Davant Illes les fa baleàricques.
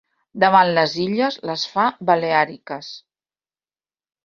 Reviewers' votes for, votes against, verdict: 0, 2, rejected